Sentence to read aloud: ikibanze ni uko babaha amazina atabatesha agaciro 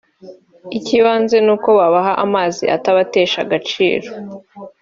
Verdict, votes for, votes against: rejected, 0, 2